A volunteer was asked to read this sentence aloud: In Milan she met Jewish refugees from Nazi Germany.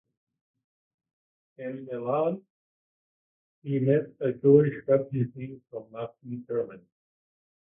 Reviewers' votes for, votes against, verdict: 1, 2, rejected